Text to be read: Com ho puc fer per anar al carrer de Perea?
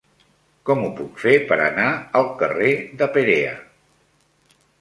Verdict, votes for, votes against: accepted, 3, 1